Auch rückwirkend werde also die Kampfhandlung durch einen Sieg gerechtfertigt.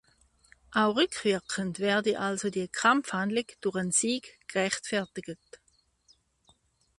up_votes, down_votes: 0, 2